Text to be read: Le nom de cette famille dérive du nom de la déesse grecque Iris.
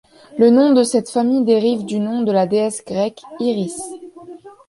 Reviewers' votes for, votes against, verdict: 2, 0, accepted